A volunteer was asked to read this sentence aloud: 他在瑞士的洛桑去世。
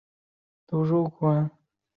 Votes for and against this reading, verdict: 6, 2, accepted